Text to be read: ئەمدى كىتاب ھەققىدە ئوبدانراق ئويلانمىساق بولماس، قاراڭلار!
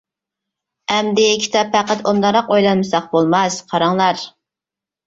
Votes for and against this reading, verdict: 0, 2, rejected